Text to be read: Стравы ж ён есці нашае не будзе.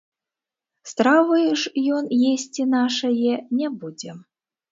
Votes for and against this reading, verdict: 0, 3, rejected